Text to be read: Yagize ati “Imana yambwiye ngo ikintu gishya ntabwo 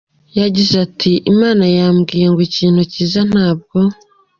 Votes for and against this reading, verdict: 2, 0, accepted